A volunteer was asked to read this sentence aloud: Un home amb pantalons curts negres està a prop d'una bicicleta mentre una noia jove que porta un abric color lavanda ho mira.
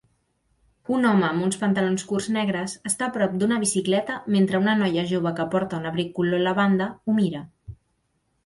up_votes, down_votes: 0, 2